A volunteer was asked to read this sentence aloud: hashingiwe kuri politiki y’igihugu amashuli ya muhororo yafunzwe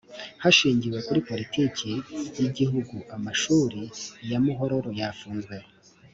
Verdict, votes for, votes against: accepted, 3, 0